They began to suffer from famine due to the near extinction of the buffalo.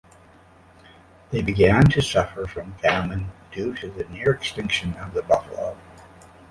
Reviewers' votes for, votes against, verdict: 2, 0, accepted